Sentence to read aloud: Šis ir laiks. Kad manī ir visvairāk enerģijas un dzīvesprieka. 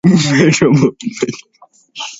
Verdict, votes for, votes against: rejected, 0, 2